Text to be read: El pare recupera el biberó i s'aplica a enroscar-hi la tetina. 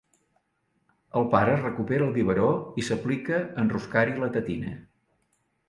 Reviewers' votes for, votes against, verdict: 2, 0, accepted